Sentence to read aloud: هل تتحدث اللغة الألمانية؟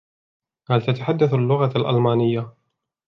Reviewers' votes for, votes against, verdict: 2, 1, accepted